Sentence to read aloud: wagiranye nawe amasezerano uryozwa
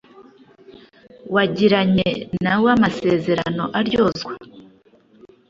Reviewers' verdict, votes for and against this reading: rejected, 1, 2